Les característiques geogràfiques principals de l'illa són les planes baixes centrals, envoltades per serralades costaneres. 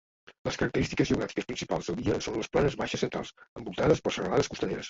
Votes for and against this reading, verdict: 1, 2, rejected